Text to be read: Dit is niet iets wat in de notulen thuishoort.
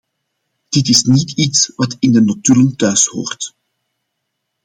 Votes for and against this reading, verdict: 2, 0, accepted